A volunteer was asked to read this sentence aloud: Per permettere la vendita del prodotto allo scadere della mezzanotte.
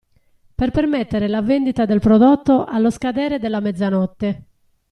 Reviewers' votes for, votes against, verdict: 3, 0, accepted